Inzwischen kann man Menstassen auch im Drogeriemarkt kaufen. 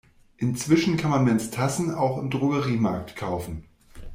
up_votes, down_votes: 2, 0